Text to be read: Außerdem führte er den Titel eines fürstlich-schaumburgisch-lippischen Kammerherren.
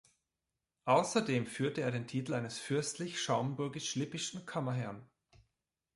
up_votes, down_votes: 2, 0